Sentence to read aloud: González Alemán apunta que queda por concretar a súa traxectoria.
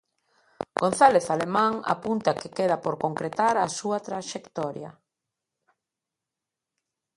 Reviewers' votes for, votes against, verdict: 2, 0, accepted